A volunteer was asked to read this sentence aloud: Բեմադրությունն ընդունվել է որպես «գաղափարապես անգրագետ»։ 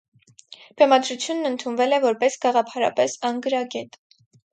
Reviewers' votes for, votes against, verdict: 4, 0, accepted